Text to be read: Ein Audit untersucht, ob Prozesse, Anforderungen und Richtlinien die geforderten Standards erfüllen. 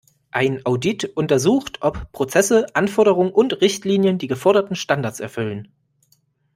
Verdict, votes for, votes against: accepted, 2, 0